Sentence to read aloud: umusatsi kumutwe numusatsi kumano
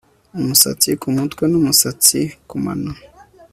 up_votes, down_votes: 2, 0